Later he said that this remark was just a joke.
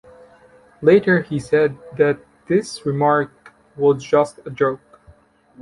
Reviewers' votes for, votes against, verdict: 2, 1, accepted